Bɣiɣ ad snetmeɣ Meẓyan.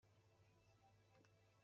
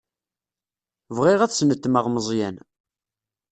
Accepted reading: second